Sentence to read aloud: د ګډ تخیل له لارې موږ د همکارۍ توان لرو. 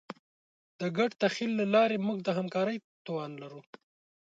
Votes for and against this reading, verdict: 2, 0, accepted